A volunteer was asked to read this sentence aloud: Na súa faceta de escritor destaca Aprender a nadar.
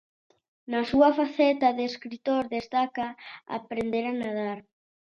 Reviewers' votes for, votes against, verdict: 2, 0, accepted